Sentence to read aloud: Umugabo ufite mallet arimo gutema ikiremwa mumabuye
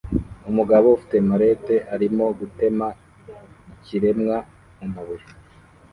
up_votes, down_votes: 2, 0